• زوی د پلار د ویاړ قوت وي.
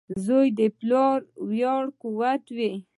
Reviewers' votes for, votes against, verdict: 1, 2, rejected